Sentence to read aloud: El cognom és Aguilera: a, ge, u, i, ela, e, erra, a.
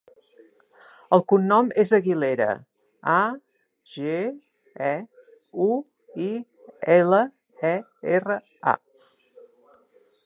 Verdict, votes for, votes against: rejected, 2, 4